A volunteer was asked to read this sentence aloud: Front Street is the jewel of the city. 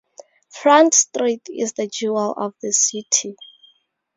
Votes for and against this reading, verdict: 2, 0, accepted